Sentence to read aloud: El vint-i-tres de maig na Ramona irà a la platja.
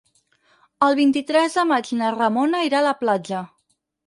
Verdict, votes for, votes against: rejected, 0, 4